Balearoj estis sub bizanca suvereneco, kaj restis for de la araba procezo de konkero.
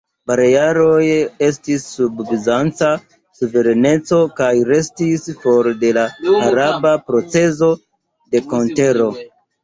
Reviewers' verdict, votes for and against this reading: accepted, 2, 1